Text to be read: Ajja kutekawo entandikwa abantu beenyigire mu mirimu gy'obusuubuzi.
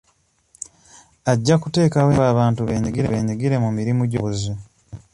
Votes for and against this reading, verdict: 0, 2, rejected